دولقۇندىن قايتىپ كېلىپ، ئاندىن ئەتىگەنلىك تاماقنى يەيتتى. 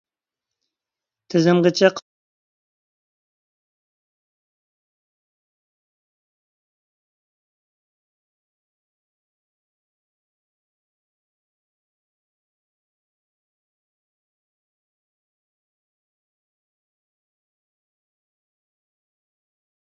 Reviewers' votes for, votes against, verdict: 0, 2, rejected